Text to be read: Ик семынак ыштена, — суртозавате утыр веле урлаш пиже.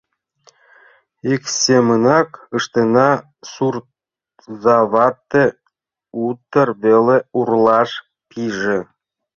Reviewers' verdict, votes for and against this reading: rejected, 0, 2